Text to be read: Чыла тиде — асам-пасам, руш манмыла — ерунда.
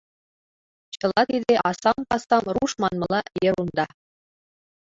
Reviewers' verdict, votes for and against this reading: accepted, 2, 0